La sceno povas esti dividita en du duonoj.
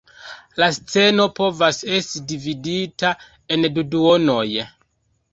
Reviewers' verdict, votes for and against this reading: rejected, 1, 2